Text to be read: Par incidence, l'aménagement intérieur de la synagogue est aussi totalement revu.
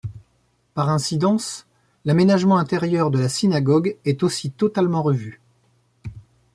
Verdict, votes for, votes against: accepted, 2, 0